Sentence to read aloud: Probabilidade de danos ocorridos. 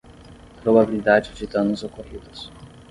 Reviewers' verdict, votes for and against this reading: accepted, 10, 0